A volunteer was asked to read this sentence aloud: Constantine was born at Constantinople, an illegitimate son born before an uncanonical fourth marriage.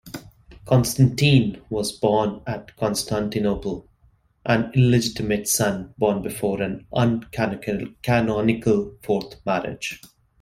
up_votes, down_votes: 0, 2